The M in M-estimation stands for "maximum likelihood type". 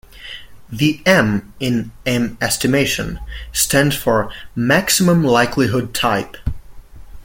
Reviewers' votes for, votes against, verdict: 2, 0, accepted